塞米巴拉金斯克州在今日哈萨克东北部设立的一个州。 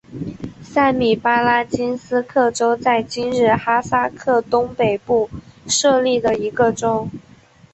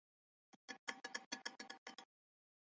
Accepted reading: first